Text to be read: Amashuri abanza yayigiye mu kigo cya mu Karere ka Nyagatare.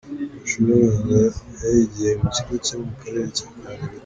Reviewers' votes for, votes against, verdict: 1, 2, rejected